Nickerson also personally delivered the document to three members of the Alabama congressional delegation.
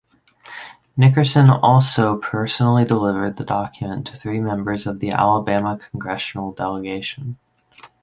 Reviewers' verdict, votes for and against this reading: accepted, 8, 0